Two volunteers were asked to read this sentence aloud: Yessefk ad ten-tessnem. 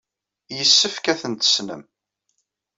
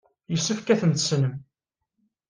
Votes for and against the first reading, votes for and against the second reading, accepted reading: 1, 2, 2, 0, second